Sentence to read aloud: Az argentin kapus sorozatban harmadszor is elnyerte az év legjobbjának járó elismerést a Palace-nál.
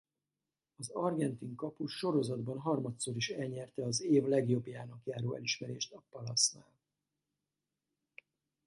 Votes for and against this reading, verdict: 0, 4, rejected